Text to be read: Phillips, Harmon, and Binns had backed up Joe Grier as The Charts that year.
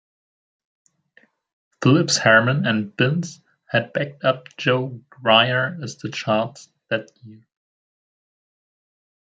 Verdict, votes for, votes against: rejected, 1, 2